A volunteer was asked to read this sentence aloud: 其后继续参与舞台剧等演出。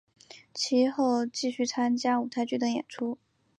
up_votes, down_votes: 1, 3